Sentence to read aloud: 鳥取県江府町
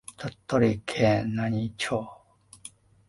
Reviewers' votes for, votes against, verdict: 0, 2, rejected